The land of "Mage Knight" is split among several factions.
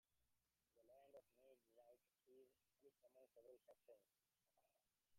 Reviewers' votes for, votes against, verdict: 0, 2, rejected